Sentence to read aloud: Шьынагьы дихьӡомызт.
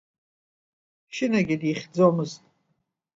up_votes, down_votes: 2, 0